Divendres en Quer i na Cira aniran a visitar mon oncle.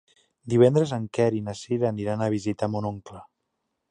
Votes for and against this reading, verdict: 3, 0, accepted